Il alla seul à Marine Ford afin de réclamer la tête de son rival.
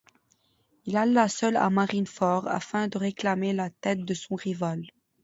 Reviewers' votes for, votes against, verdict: 1, 2, rejected